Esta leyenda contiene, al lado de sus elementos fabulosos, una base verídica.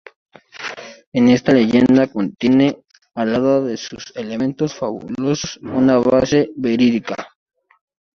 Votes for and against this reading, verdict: 0, 2, rejected